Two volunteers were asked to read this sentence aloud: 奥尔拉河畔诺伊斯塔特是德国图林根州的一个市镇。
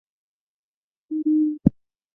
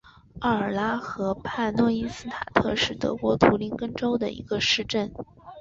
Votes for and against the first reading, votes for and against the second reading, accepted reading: 1, 2, 2, 0, second